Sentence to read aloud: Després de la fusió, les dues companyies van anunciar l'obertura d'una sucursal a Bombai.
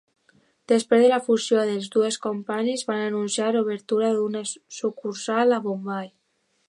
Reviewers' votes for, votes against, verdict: 0, 2, rejected